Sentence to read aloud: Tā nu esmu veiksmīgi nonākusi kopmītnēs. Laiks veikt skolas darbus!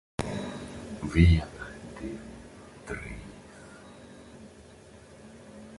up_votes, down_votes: 0, 2